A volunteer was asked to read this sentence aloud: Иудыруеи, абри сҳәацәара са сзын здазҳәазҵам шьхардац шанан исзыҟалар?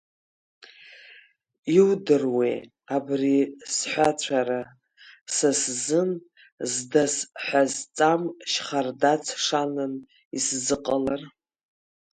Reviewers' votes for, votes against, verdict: 0, 2, rejected